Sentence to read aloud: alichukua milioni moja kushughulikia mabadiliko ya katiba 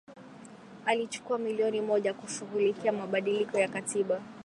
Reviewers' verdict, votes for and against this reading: accepted, 8, 2